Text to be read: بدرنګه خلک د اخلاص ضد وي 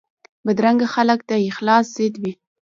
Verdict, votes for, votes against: rejected, 1, 2